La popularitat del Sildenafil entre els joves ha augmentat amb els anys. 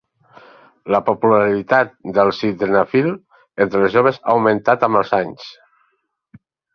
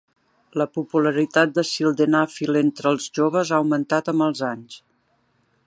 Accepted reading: first